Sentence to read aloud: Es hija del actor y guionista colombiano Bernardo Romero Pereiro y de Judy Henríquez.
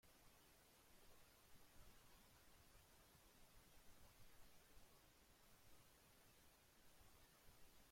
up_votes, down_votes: 0, 2